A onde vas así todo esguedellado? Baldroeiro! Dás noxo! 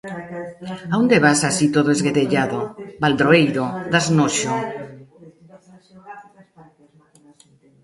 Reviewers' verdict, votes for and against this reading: accepted, 2, 1